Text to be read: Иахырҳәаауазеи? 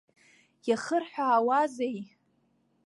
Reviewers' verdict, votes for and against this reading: accepted, 2, 0